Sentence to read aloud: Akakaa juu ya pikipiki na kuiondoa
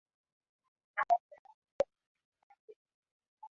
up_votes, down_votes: 0, 2